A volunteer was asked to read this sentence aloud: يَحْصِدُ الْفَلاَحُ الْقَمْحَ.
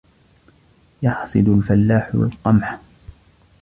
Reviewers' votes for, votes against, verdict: 2, 0, accepted